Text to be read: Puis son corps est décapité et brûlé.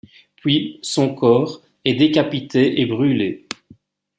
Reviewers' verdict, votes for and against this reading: accepted, 2, 0